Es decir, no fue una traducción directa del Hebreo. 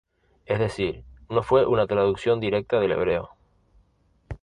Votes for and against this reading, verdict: 2, 0, accepted